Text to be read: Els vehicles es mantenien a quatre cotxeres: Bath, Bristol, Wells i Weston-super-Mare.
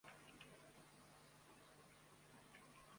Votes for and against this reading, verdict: 0, 2, rejected